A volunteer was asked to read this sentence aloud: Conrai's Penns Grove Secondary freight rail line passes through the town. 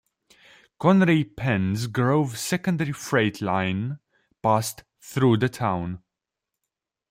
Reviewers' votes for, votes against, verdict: 0, 2, rejected